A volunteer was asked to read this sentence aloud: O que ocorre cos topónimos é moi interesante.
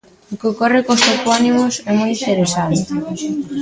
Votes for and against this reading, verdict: 2, 1, accepted